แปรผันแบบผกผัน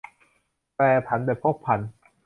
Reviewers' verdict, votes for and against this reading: rejected, 0, 2